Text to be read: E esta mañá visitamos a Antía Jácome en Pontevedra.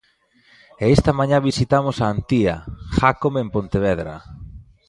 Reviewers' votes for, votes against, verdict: 2, 0, accepted